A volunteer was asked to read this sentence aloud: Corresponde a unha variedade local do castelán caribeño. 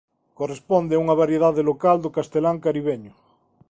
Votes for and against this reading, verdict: 3, 0, accepted